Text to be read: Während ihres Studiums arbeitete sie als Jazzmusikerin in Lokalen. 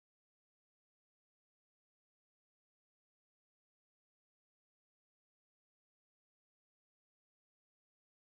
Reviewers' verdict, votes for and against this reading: rejected, 0, 4